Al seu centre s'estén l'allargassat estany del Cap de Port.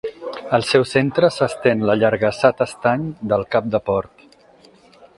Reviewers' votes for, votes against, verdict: 2, 4, rejected